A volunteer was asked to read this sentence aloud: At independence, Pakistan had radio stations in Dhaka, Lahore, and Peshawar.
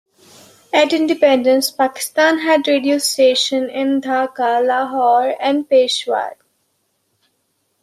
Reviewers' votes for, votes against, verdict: 2, 0, accepted